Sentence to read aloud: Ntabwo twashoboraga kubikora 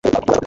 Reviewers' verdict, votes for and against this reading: rejected, 1, 2